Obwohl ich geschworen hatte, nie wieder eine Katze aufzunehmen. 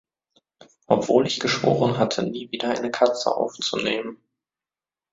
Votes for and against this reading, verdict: 2, 0, accepted